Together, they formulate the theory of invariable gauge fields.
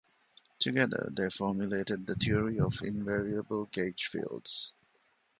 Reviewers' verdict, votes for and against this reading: rejected, 1, 2